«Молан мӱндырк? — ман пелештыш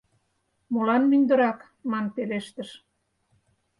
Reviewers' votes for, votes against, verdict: 0, 4, rejected